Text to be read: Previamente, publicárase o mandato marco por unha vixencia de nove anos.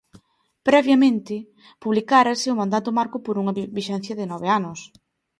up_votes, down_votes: 1, 2